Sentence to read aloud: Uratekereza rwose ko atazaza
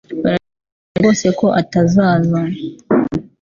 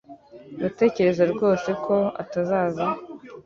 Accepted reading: second